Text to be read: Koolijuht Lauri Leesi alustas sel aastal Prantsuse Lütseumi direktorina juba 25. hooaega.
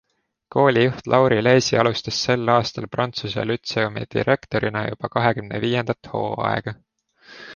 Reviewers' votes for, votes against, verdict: 0, 2, rejected